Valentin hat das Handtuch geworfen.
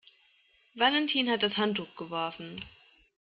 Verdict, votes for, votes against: accepted, 2, 0